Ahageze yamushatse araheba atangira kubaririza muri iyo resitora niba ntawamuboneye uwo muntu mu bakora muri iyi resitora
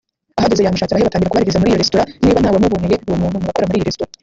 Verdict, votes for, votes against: rejected, 0, 2